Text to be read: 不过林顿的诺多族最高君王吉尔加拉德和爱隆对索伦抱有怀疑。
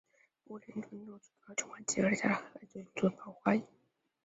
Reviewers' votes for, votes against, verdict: 0, 4, rejected